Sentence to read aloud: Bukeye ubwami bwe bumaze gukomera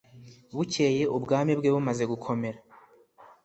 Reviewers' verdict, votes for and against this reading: accepted, 2, 0